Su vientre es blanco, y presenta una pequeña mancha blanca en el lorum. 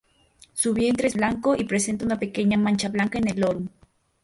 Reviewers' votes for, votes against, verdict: 0, 2, rejected